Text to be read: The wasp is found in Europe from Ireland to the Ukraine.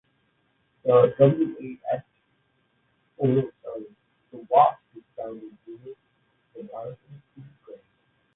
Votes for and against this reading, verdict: 0, 2, rejected